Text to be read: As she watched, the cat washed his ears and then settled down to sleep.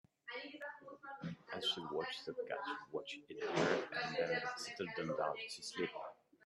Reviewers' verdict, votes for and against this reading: rejected, 0, 2